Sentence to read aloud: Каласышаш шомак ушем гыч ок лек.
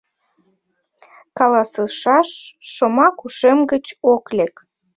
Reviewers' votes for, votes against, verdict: 2, 0, accepted